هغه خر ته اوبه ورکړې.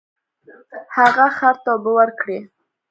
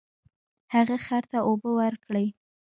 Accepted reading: first